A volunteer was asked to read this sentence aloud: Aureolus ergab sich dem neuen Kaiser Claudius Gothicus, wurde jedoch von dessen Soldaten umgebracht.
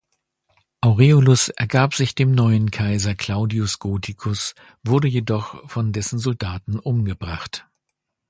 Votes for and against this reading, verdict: 2, 0, accepted